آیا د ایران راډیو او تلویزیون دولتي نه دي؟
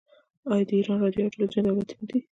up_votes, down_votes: 1, 2